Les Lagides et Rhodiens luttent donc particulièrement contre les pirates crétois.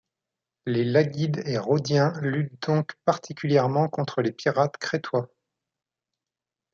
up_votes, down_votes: 1, 2